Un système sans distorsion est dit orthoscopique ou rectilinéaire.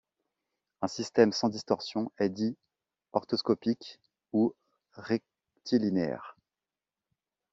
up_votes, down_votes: 1, 2